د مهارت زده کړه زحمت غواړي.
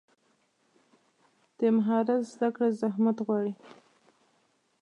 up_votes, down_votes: 0, 2